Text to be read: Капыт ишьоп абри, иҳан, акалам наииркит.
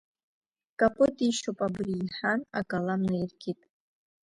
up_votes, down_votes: 2, 0